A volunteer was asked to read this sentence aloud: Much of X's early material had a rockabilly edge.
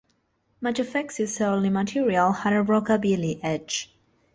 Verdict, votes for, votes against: rejected, 1, 2